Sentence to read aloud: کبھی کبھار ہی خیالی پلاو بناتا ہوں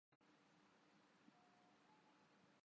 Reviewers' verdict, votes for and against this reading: rejected, 0, 3